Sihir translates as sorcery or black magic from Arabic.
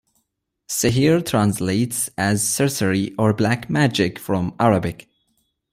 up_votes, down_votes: 2, 0